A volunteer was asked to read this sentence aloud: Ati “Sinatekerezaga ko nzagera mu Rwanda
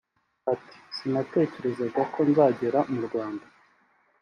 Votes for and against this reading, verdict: 2, 0, accepted